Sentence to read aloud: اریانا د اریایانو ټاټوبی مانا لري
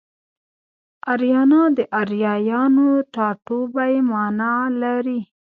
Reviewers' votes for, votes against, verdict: 1, 2, rejected